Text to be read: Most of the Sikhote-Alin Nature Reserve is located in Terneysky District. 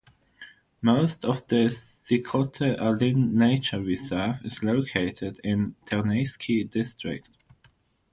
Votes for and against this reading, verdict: 3, 0, accepted